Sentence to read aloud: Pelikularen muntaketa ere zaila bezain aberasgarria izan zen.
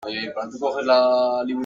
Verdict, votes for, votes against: rejected, 0, 2